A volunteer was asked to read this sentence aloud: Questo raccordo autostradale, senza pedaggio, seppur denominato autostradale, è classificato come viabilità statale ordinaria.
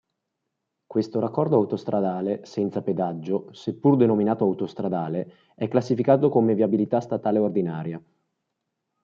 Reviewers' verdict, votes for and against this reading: accepted, 2, 0